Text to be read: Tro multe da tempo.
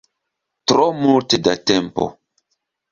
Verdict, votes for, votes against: accepted, 2, 0